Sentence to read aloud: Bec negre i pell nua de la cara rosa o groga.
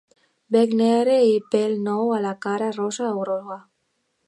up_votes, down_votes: 0, 2